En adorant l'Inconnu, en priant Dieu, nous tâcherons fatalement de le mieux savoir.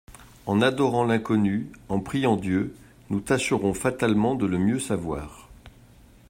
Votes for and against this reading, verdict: 2, 0, accepted